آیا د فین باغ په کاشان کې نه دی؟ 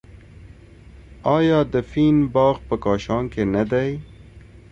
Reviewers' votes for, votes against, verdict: 2, 0, accepted